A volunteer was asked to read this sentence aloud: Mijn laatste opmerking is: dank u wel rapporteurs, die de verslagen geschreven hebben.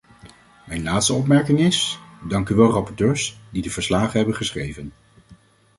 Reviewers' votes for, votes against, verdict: 0, 2, rejected